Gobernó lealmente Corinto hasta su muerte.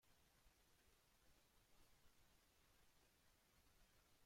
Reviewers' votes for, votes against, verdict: 0, 2, rejected